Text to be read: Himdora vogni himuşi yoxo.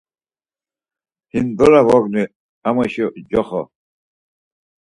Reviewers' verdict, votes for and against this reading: rejected, 2, 4